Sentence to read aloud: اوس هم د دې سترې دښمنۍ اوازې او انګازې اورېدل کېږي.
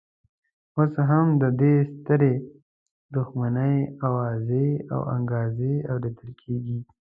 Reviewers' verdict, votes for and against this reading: accepted, 2, 0